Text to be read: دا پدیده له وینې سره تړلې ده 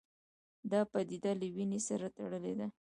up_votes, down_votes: 0, 2